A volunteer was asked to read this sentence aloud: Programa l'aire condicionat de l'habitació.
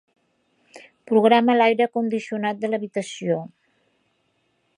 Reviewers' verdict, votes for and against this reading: accepted, 2, 0